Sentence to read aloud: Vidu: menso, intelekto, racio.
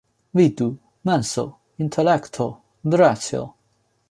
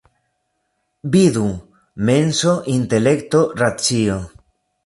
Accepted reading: first